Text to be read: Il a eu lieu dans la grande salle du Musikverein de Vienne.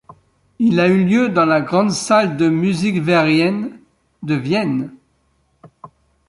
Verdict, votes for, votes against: rejected, 1, 2